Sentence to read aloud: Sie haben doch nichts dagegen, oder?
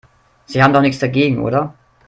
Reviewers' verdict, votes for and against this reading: rejected, 1, 2